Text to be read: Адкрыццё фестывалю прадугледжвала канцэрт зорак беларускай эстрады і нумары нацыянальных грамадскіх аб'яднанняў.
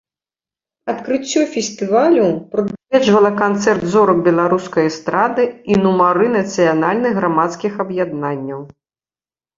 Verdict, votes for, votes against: rejected, 0, 2